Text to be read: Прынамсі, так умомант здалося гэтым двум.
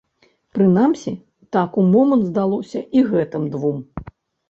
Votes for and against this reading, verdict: 0, 2, rejected